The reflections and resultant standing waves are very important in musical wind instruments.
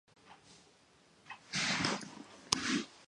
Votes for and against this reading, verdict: 0, 2, rejected